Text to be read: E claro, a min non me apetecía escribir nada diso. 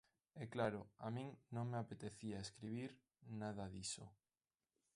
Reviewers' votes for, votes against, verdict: 2, 0, accepted